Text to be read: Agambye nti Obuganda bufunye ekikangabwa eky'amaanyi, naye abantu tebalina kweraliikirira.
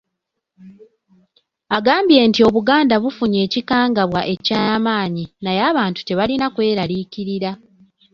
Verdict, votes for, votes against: accepted, 2, 0